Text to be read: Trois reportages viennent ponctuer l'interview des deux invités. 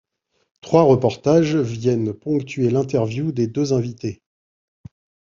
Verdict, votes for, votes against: accepted, 2, 0